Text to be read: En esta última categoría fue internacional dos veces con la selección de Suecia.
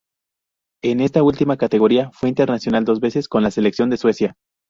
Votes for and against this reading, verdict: 4, 0, accepted